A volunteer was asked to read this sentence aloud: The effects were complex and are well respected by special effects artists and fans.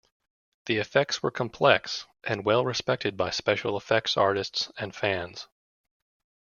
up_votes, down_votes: 1, 2